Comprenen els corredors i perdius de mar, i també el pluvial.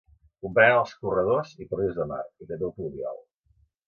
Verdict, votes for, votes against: rejected, 1, 2